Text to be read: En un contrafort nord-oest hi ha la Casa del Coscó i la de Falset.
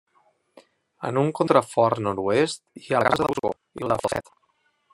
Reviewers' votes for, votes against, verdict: 0, 2, rejected